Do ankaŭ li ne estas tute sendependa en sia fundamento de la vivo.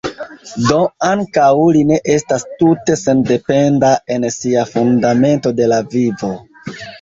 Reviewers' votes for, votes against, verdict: 2, 1, accepted